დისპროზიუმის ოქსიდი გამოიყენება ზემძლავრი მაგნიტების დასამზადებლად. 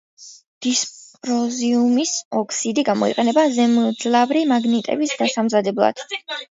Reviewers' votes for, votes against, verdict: 2, 0, accepted